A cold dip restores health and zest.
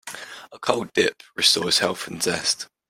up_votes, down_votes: 1, 2